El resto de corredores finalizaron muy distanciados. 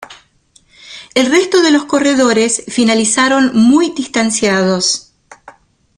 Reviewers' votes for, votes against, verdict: 0, 2, rejected